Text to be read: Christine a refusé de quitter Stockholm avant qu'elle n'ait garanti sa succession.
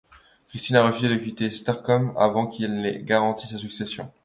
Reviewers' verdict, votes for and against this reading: accepted, 2, 0